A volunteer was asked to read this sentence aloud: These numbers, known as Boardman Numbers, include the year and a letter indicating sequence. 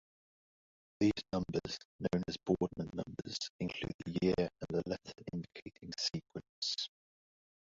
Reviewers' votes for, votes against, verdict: 0, 2, rejected